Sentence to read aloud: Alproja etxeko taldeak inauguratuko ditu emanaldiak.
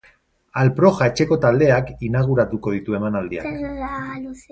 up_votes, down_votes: 0, 2